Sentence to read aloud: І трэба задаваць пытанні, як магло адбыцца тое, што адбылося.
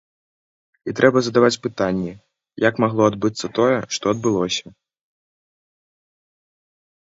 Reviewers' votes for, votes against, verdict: 2, 0, accepted